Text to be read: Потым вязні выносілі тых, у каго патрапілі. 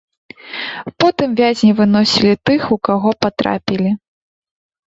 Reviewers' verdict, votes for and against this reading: rejected, 0, 2